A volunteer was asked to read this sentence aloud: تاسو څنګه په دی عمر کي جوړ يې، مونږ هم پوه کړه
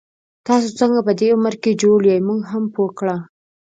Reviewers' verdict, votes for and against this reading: accepted, 2, 0